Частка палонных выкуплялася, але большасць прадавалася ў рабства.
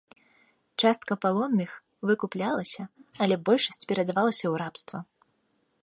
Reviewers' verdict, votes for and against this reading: rejected, 0, 2